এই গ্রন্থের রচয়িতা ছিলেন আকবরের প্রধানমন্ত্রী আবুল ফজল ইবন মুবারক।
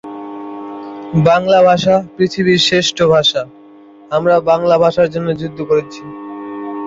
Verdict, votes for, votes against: rejected, 0, 3